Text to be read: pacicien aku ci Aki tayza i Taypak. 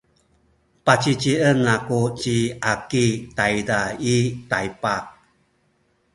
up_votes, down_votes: 1, 2